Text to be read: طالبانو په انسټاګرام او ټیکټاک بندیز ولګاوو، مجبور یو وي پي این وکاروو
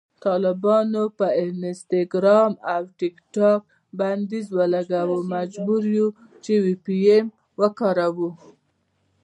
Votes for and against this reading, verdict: 0, 2, rejected